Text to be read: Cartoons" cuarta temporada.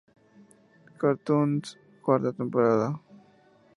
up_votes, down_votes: 10, 2